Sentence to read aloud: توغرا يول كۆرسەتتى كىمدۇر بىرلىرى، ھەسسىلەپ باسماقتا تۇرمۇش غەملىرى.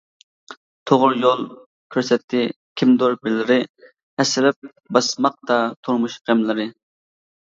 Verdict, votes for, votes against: accepted, 2, 0